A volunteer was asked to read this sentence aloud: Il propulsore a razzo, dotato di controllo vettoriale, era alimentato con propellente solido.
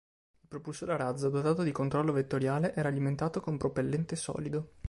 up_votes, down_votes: 2, 0